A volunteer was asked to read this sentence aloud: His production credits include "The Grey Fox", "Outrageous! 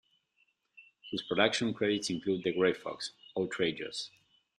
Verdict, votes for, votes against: accepted, 2, 0